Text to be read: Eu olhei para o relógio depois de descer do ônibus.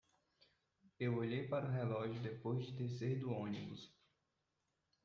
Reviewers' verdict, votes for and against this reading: accepted, 2, 0